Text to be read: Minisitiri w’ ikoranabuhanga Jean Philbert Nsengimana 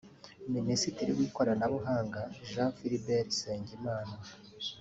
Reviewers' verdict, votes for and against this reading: accepted, 2, 0